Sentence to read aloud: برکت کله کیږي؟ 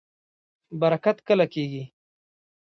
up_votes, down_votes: 2, 0